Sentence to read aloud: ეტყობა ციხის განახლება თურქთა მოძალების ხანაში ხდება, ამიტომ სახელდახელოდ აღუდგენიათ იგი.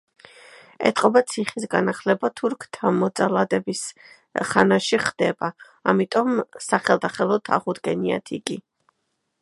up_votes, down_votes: 0, 2